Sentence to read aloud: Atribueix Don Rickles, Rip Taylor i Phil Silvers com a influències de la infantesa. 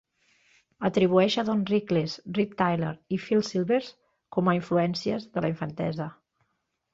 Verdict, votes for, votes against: accepted, 2, 1